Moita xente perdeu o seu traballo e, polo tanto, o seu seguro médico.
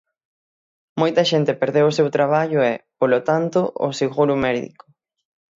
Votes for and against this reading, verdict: 0, 6, rejected